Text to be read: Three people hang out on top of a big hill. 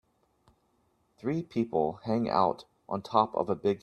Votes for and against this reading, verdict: 0, 2, rejected